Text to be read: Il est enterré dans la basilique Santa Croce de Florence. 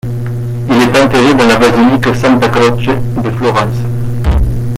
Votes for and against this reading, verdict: 2, 0, accepted